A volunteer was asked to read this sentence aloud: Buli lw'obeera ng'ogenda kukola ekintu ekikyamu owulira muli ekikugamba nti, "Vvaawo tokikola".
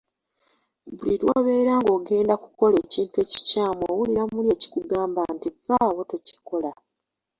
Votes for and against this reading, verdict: 2, 0, accepted